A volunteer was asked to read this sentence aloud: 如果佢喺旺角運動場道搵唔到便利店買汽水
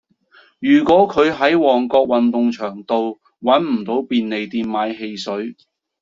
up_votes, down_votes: 2, 0